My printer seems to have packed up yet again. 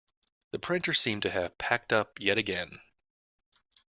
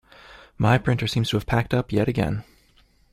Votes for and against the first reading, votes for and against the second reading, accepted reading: 0, 2, 2, 0, second